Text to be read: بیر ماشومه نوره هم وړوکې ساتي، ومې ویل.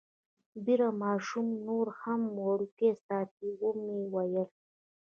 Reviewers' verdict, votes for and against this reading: rejected, 0, 2